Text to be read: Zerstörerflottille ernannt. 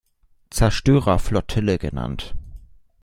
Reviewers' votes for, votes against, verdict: 1, 2, rejected